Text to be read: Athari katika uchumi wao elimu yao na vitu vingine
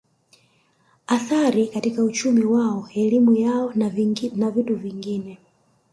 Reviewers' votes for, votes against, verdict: 1, 2, rejected